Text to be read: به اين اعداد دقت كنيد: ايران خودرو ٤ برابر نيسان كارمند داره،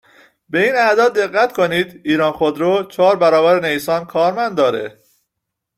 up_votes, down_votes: 0, 2